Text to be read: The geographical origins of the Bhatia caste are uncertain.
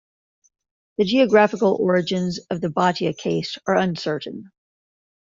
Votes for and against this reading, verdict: 0, 2, rejected